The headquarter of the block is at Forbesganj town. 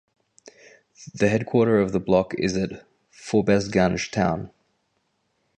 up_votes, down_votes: 2, 0